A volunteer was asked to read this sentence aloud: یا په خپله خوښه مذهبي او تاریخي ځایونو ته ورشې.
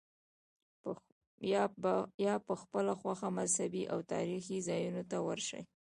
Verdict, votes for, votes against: rejected, 1, 2